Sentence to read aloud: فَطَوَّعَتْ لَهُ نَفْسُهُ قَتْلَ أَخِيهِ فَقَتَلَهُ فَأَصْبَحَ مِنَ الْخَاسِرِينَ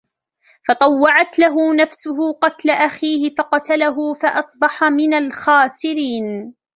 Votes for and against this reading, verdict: 2, 0, accepted